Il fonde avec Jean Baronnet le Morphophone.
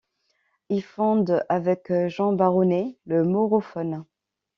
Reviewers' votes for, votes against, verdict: 0, 2, rejected